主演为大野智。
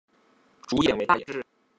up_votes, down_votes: 0, 2